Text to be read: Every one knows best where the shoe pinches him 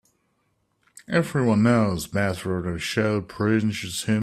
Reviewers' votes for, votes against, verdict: 0, 3, rejected